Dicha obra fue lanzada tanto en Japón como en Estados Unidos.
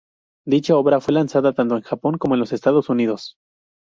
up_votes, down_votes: 0, 2